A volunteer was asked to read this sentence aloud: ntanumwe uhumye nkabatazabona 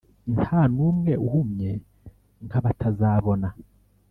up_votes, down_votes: 2, 0